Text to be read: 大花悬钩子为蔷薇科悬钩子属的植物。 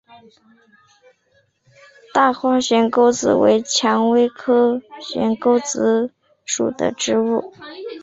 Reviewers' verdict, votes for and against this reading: accepted, 4, 0